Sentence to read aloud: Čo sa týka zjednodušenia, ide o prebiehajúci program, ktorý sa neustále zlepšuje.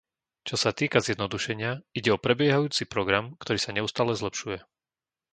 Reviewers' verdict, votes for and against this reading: accepted, 2, 0